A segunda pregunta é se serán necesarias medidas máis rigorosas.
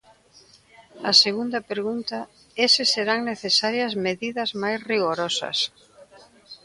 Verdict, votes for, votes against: accepted, 2, 1